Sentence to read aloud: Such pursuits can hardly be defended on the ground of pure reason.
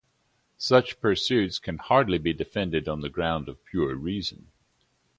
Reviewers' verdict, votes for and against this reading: accepted, 2, 0